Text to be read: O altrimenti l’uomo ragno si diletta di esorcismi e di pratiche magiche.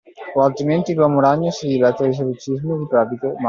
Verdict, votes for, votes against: rejected, 0, 2